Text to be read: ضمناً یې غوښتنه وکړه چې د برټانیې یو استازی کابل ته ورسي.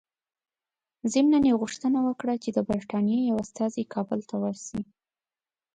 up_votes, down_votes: 2, 0